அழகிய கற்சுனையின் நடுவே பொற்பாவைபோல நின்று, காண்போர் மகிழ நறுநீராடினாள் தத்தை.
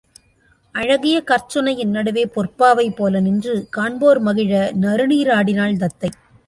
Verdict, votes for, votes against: accepted, 2, 0